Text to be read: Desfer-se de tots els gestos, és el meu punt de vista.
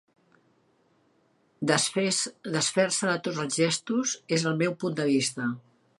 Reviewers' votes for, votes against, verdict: 1, 2, rejected